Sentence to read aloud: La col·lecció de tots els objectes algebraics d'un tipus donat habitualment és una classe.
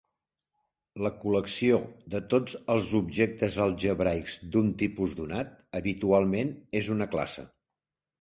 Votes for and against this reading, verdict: 3, 0, accepted